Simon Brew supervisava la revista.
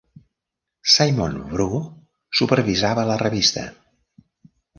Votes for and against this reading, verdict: 1, 2, rejected